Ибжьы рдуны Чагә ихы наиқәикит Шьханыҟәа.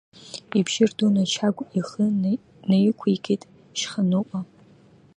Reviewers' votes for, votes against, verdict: 1, 2, rejected